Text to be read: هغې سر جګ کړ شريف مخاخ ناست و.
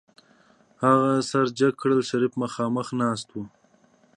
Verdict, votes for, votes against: accepted, 3, 0